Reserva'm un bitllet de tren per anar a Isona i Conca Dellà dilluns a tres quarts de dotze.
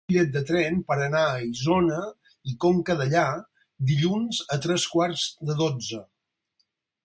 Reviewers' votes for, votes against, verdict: 0, 4, rejected